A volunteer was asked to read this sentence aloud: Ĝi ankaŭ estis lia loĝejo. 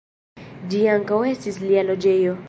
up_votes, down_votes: 1, 2